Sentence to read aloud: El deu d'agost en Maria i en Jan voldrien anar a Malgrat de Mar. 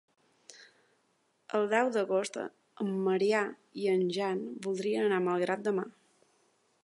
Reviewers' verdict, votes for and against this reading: accepted, 4, 0